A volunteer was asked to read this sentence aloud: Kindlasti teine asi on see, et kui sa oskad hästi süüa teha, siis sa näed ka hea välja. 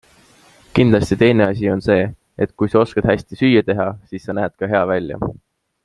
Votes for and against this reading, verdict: 2, 0, accepted